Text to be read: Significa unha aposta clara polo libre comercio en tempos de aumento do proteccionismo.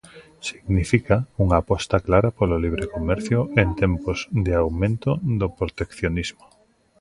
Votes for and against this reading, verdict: 2, 0, accepted